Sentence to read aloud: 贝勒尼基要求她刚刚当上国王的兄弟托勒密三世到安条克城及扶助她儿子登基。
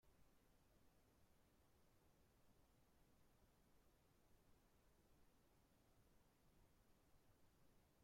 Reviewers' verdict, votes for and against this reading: rejected, 0, 2